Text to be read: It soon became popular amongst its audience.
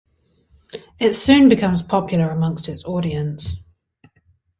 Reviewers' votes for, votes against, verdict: 2, 0, accepted